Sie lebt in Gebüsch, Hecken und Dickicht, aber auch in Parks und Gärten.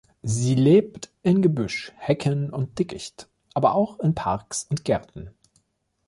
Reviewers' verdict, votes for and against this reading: accepted, 2, 0